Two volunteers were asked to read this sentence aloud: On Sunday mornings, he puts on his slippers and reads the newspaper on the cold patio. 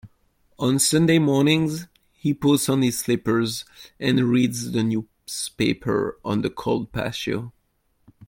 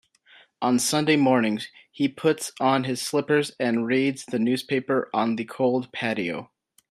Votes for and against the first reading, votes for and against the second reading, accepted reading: 0, 2, 2, 0, second